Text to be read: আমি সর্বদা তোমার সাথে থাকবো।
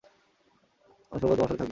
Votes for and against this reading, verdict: 0, 2, rejected